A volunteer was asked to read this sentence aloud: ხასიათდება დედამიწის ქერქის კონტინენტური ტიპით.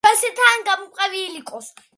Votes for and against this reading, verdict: 0, 2, rejected